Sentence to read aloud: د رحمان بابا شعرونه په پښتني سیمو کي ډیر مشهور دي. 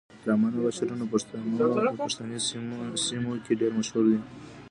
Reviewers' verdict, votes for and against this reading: rejected, 1, 2